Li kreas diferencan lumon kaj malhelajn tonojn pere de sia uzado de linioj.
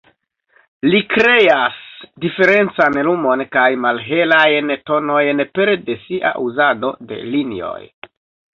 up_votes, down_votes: 0, 2